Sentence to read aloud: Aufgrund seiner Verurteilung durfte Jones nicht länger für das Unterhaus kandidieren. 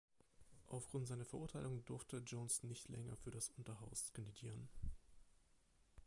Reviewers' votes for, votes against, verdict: 2, 0, accepted